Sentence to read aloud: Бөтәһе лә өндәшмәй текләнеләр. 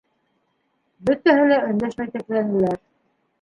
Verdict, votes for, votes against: accepted, 2, 1